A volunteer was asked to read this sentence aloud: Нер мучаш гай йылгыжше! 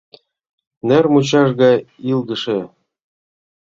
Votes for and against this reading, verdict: 1, 2, rejected